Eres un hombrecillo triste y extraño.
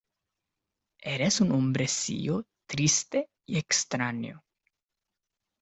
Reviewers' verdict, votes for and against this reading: accepted, 2, 0